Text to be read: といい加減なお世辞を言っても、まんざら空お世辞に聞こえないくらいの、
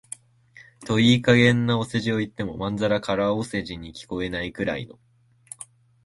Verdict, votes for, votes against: accepted, 5, 2